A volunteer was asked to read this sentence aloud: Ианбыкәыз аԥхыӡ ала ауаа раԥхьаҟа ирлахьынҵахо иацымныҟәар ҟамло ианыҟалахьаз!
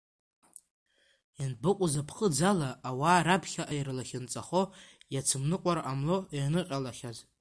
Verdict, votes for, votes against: accepted, 2, 1